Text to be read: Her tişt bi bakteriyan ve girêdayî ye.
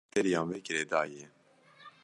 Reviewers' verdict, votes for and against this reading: rejected, 0, 2